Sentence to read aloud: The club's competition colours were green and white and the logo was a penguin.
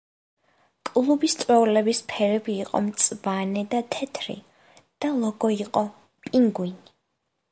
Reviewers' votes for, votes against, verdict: 0, 2, rejected